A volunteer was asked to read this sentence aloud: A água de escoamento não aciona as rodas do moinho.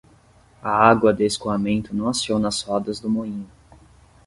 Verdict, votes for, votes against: accepted, 10, 0